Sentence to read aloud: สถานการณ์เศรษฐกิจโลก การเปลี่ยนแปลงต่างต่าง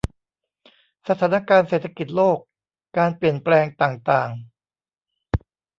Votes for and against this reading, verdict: 0, 2, rejected